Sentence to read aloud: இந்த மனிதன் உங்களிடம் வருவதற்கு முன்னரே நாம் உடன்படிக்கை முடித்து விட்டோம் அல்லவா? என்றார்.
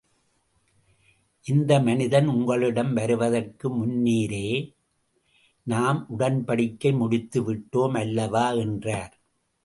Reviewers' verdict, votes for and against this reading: rejected, 0, 2